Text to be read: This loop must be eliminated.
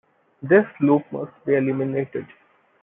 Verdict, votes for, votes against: accepted, 2, 1